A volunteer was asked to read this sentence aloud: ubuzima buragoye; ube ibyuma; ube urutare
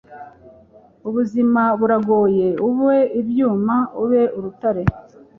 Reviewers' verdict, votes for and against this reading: accepted, 2, 1